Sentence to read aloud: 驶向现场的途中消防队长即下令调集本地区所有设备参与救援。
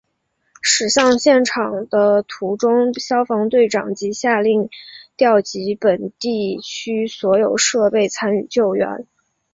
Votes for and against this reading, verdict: 4, 0, accepted